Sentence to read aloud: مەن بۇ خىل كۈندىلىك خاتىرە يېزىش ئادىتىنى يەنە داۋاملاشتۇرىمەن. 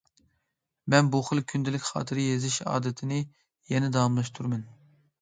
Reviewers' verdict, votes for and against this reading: accepted, 2, 0